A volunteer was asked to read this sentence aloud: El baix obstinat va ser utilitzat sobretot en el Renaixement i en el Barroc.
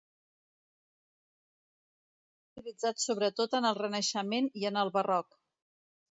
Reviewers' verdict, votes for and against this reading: rejected, 0, 2